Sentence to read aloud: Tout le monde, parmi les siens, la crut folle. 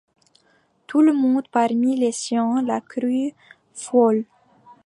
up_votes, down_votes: 2, 0